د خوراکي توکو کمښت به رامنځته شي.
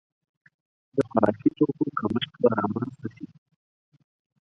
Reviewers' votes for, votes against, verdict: 2, 4, rejected